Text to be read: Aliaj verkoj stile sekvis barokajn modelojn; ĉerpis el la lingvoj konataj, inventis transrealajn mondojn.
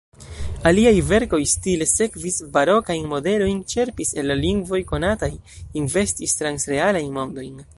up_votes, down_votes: 2, 0